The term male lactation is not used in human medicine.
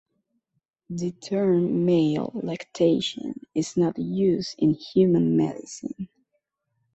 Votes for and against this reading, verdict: 2, 0, accepted